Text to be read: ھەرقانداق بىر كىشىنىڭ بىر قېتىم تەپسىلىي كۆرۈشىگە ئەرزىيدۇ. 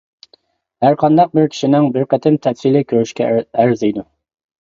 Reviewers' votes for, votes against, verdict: 1, 2, rejected